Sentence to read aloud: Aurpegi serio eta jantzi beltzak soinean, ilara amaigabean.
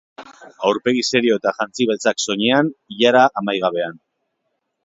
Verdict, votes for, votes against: accepted, 2, 0